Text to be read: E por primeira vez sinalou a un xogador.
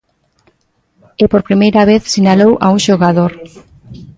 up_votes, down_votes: 0, 2